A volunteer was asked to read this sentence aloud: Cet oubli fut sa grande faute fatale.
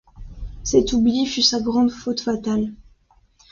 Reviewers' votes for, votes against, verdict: 2, 0, accepted